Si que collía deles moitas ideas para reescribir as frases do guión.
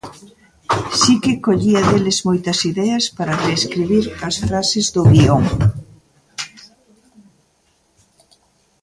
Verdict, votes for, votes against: rejected, 1, 2